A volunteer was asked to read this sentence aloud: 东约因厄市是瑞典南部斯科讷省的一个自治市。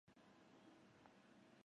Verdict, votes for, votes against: rejected, 0, 3